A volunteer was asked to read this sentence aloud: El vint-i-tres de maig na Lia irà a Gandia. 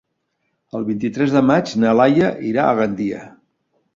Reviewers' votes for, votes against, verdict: 1, 2, rejected